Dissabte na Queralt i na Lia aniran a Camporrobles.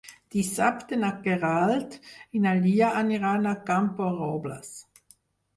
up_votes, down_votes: 4, 0